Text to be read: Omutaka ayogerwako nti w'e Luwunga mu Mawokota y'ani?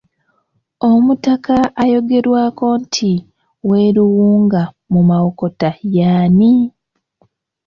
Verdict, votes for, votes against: rejected, 1, 2